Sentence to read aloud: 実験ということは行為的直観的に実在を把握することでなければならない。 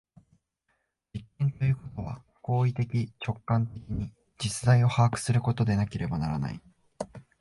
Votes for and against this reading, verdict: 1, 2, rejected